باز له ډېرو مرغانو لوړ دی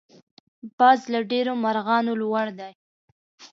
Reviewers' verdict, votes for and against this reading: accepted, 2, 0